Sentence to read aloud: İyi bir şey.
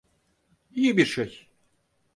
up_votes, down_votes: 4, 0